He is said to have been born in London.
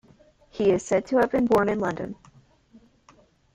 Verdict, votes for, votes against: accepted, 2, 0